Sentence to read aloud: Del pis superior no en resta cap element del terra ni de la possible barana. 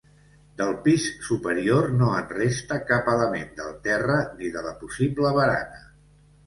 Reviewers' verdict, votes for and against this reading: accepted, 3, 0